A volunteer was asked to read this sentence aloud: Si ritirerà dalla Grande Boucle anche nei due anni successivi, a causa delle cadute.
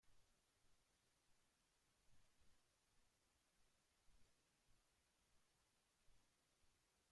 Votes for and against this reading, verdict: 0, 2, rejected